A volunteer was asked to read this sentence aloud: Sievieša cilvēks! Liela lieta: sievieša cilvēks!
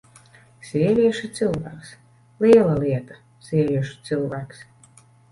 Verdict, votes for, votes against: rejected, 1, 2